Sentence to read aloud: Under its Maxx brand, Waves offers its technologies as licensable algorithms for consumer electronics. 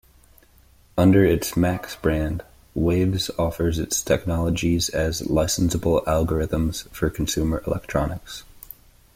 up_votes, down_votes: 2, 0